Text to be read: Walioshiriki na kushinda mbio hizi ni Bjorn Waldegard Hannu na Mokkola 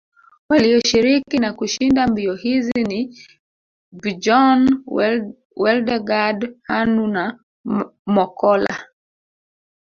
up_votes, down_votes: 1, 2